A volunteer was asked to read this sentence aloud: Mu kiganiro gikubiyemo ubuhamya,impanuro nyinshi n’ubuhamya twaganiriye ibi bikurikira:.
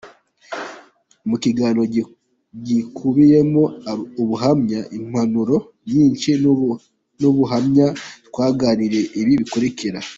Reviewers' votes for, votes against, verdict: 0, 2, rejected